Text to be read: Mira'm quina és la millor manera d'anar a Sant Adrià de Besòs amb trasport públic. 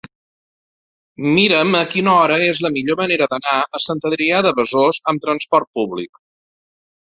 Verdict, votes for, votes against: rejected, 0, 2